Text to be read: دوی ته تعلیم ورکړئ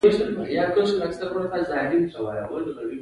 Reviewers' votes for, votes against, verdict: 0, 2, rejected